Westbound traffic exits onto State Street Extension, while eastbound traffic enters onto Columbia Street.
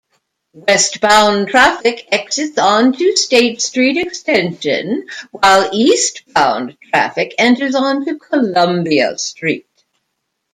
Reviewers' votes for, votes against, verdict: 0, 2, rejected